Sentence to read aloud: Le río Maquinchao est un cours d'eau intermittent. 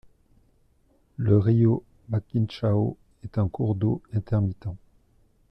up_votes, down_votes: 2, 0